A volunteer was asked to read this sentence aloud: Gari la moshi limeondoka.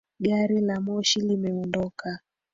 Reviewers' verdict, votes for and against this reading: accepted, 2, 1